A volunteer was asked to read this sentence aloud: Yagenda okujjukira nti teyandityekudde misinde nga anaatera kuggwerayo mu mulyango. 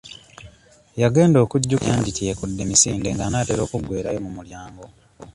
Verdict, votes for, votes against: rejected, 0, 2